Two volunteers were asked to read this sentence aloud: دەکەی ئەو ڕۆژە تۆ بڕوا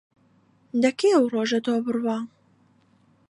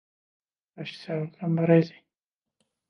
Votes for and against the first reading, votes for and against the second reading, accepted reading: 2, 0, 0, 2, first